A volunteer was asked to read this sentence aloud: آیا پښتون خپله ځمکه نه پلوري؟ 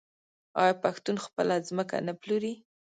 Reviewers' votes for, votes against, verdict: 1, 2, rejected